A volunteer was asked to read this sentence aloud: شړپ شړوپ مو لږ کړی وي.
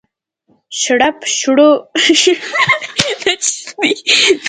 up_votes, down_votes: 0, 2